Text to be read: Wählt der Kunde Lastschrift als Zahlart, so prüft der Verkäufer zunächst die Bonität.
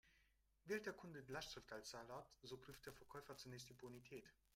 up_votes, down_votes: 1, 3